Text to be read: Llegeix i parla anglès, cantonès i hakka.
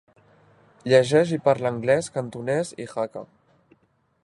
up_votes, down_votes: 3, 0